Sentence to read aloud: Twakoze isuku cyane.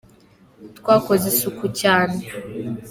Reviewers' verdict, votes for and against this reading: accepted, 2, 1